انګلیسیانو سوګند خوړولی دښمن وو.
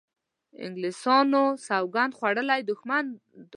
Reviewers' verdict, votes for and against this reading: rejected, 1, 2